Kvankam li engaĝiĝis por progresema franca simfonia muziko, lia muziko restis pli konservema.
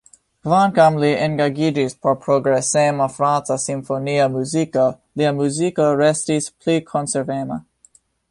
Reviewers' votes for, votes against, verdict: 2, 0, accepted